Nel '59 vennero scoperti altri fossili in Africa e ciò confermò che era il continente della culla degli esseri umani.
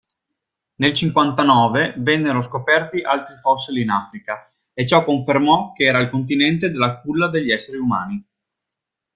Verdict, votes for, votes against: rejected, 0, 2